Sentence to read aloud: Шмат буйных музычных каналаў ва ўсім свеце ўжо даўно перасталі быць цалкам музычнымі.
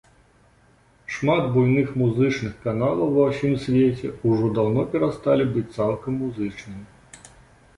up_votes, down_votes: 3, 0